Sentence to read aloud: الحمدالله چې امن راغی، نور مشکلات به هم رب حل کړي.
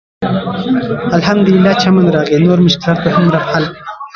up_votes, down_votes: 0, 2